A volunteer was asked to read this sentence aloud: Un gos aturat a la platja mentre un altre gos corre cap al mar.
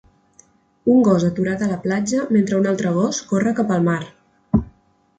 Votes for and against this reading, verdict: 3, 0, accepted